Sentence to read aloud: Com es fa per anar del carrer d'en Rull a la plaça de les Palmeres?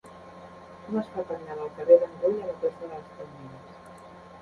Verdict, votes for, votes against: rejected, 0, 2